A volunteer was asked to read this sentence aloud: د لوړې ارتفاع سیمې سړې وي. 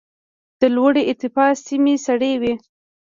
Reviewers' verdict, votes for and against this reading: rejected, 0, 2